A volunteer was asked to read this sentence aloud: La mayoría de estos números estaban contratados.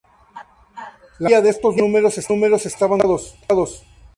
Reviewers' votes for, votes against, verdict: 0, 2, rejected